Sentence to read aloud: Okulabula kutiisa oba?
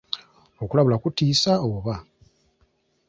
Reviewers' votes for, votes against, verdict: 2, 0, accepted